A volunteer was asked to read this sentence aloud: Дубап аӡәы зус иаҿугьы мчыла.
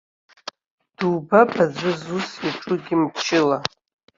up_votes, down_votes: 1, 2